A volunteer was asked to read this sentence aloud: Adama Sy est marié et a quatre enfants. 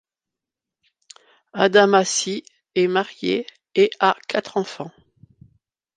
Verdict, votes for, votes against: accepted, 2, 0